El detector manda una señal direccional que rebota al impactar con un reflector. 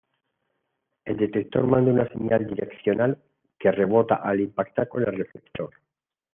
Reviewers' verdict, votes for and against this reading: accepted, 2, 0